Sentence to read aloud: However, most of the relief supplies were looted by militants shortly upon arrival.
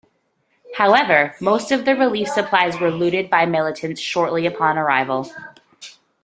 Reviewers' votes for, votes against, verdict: 2, 0, accepted